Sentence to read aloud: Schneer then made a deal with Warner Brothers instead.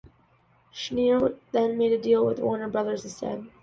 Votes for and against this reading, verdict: 2, 0, accepted